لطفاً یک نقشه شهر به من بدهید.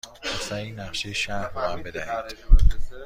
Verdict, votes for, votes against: accepted, 2, 0